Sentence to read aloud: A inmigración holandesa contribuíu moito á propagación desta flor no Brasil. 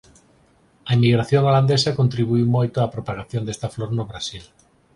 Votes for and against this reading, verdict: 4, 0, accepted